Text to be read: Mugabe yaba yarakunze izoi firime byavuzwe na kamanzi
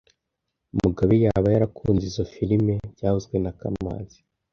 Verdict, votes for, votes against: rejected, 0, 2